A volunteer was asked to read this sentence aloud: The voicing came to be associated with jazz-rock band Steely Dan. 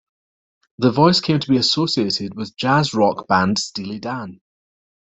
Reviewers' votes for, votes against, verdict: 0, 2, rejected